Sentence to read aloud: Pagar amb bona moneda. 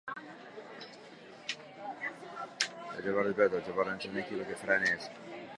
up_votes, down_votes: 1, 4